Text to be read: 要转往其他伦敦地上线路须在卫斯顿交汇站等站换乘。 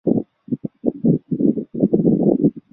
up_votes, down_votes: 0, 2